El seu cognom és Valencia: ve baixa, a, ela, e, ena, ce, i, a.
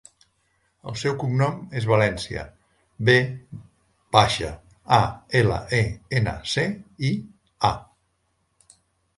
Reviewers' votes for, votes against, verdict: 1, 2, rejected